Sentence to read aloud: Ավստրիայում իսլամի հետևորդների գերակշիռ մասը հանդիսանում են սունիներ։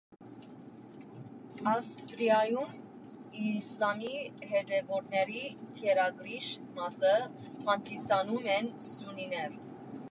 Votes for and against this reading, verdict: 0, 2, rejected